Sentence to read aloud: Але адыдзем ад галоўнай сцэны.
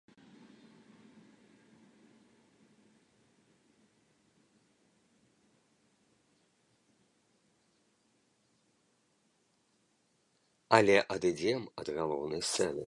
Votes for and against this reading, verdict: 1, 2, rejected